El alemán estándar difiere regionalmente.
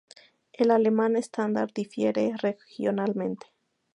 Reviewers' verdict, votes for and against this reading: accepted, 4, 0